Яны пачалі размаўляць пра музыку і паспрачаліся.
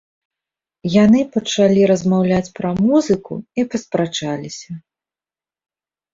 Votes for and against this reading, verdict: 0, 2, rejected